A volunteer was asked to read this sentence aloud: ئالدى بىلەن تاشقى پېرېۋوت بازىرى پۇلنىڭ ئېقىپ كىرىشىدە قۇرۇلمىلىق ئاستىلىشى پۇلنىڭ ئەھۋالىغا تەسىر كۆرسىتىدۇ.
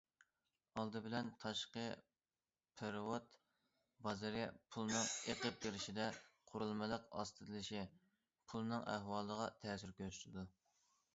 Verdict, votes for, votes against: accepted, 2, 0